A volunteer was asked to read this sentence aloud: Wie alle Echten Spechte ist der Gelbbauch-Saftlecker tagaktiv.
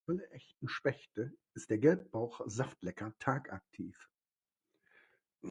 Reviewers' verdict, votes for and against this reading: rejected, 1, 2